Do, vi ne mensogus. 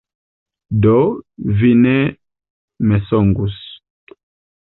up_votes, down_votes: 0, 2